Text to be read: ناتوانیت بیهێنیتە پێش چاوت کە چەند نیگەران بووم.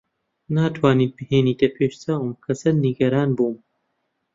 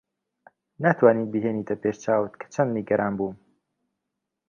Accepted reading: second